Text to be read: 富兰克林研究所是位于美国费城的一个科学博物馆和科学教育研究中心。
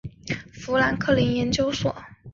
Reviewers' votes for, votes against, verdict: 1, 2, rejected